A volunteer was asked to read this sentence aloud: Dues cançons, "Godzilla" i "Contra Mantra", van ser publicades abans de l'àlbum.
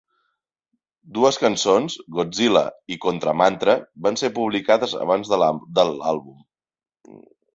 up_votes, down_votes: 2, 4